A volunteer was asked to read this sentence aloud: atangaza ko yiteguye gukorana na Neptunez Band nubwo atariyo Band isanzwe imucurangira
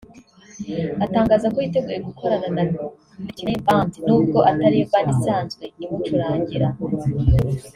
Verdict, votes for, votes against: accepted, 4, 0